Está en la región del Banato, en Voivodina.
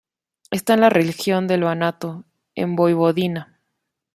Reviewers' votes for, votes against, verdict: 1, 2, rejected